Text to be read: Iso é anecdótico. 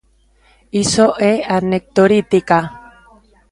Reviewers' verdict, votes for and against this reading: rejected, 0, 2